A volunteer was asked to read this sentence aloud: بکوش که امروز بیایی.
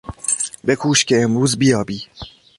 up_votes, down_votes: 0, 2